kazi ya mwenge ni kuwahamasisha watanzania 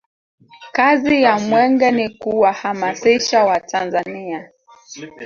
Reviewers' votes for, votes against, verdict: 1, 2, rejected